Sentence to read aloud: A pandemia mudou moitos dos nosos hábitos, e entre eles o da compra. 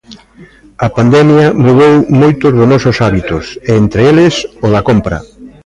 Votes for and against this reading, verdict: 2, 1, accepted